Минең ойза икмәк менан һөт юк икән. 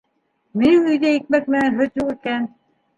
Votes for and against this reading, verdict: 1, 2, rejected